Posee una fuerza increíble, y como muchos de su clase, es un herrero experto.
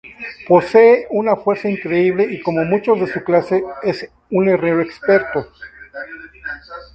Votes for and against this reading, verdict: 2, 0, accepted